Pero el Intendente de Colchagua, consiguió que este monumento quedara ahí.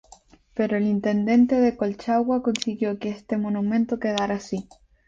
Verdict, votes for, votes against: rejected, 2, 2